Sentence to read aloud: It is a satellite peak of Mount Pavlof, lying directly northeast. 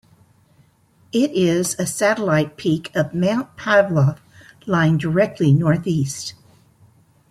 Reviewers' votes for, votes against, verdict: 0, 2, rejected